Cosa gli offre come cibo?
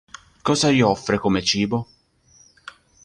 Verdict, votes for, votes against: accepted, 4, 0